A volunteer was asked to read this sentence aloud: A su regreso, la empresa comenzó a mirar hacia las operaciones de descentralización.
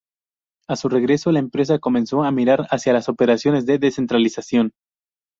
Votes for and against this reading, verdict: 2, 0, accepted